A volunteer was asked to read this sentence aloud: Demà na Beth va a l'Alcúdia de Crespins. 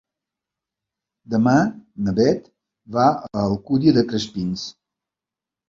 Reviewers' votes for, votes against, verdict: 1, 2, rejected